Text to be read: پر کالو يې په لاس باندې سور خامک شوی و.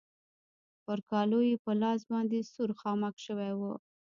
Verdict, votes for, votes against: rejected, 0, 2